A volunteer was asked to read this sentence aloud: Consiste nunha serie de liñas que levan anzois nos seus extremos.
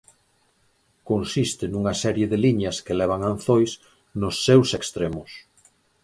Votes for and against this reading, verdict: 4, 0, accepted